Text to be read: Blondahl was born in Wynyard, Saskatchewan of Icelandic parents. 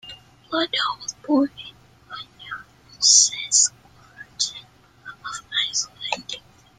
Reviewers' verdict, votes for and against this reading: rejected, 1, 2